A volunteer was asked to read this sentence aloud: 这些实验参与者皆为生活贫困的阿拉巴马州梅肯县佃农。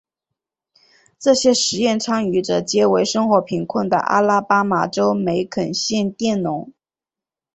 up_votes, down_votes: 3, 2